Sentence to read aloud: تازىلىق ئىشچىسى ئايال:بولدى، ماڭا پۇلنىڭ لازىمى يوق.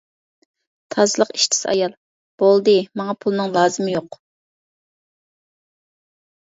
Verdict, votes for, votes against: accepted, 2, 0